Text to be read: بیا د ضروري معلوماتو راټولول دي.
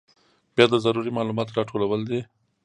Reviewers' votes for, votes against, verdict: 2, 0, accepted